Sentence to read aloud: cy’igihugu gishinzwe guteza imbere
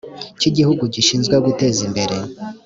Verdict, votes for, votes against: accepted, 2, 0